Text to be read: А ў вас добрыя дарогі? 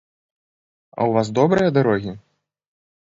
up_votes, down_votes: 2, 0